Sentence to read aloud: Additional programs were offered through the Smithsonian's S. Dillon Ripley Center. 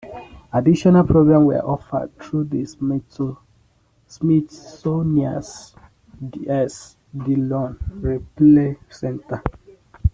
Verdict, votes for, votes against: rejected, 0, 2